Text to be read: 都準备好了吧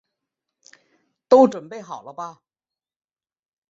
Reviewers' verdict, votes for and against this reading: accepted, 2, 0